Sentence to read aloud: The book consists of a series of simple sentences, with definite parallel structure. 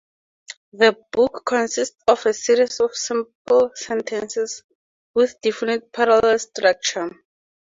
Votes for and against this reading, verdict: 2, 2, rejected